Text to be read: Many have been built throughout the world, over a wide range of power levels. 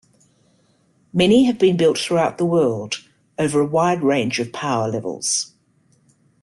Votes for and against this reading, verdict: 2, 0, accepted